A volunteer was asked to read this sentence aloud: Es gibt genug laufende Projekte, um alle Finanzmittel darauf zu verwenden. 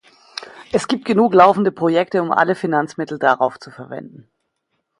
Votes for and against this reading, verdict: 2, 0, accepted